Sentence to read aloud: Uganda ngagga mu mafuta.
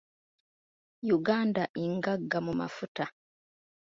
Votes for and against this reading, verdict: 2, 0, accepted